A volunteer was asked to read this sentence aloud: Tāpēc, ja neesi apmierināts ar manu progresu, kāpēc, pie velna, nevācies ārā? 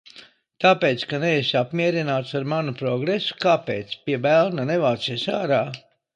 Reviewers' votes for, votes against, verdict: 0, 2, rejected